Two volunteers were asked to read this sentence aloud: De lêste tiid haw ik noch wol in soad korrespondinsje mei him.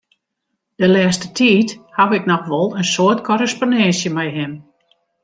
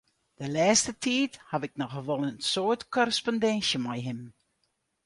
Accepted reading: first